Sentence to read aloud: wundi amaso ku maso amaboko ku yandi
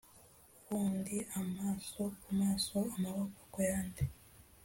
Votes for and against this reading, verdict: 2, 0, accepted